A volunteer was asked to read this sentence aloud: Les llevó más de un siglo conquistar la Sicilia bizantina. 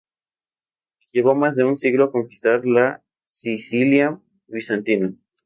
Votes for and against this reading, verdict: 0, 2, rejected